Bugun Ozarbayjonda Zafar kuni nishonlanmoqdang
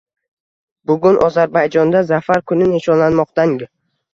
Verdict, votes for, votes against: rejected, 1, 2